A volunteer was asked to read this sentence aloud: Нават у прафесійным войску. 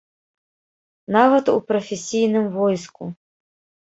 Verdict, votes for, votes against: accepted, 2, 0